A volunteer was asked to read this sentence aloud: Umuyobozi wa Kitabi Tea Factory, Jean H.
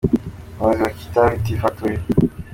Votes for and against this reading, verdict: 2, 0, accepted